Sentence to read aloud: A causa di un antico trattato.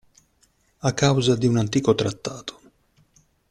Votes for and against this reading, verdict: 2, 0, accepted